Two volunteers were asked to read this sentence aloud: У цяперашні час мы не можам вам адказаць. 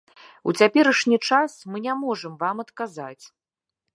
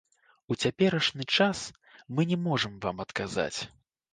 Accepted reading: first